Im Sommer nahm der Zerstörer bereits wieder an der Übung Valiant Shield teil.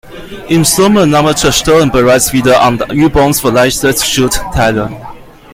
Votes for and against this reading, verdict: 0, 2, rejected